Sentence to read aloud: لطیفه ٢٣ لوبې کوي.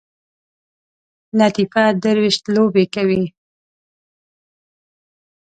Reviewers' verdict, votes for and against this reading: rejected, 0, 2